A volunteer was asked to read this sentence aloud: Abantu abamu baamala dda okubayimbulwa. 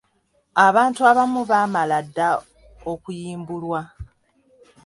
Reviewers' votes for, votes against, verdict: 0, 2, rejected